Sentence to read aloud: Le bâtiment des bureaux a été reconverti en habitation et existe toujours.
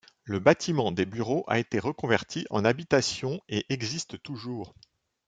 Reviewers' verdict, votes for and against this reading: accepted, 2, 0